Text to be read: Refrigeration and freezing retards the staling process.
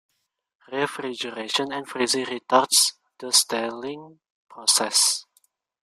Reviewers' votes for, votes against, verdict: 2, 0, accepted